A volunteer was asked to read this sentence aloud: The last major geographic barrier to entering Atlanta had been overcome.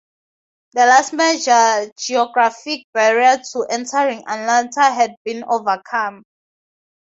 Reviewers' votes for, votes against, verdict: 0, 2, rejected